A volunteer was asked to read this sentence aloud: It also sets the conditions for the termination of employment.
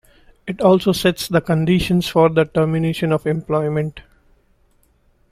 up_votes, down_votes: 2, 0